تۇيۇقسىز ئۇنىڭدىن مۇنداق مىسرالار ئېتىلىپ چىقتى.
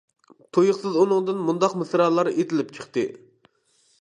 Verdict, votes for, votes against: accepted, 2, 0